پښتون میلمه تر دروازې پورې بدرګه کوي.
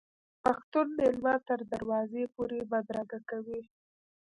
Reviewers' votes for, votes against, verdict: 1, 2, rejected